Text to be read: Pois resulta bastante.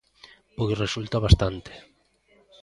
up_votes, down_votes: 2, 0